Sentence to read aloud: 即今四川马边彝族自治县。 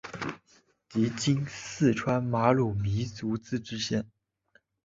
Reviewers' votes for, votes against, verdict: 3, 2, accepted